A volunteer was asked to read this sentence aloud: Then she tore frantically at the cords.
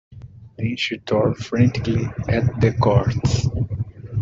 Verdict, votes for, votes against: accepted, 2, 0